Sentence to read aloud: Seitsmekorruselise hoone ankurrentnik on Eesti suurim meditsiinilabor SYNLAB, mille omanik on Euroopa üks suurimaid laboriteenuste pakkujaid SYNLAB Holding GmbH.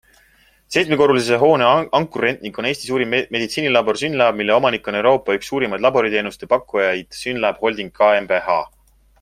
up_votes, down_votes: 2, 0